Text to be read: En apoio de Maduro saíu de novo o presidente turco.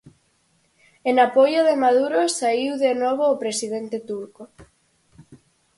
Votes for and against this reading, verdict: 4, 0, accepted